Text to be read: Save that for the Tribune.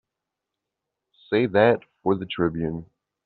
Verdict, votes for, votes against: accepted, 3, 0